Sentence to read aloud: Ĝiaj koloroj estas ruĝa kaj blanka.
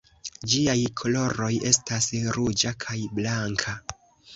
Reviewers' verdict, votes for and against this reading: accepted, 2, 0